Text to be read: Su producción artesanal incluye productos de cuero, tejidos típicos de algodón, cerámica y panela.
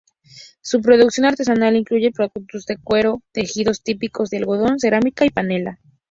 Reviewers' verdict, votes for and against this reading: accepted, 4, 2